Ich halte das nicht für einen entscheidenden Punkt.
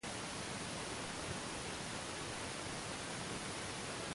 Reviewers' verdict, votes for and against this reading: rejected, 0, 2